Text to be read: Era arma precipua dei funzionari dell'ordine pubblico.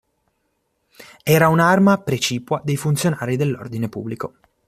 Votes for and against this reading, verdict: 0, 2, rejected